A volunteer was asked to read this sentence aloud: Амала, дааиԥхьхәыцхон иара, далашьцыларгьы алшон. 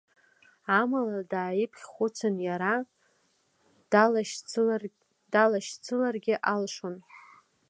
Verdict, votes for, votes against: rejected, 1, 2